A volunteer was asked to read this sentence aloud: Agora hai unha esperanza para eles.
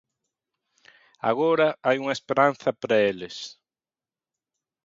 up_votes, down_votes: 2, 0